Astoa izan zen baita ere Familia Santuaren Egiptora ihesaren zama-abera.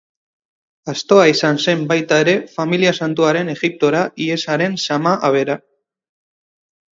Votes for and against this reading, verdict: 4, 0, accepted